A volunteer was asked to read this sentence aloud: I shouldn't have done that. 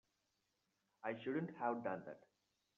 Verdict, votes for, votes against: accepted, 2, 0